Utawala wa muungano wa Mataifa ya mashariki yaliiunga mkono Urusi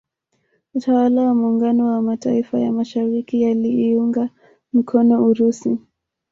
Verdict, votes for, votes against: rejected, 0, 2